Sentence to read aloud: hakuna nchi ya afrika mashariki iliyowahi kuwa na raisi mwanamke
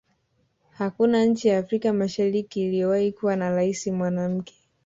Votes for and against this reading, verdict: 2, 1, accepted